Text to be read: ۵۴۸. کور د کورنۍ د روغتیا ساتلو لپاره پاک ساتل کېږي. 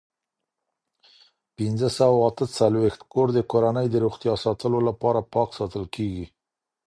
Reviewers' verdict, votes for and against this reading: rejected, 0, 2